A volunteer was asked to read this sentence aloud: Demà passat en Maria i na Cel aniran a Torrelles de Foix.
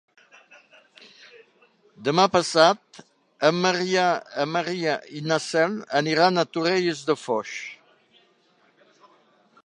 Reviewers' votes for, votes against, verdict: 0, 2, rejected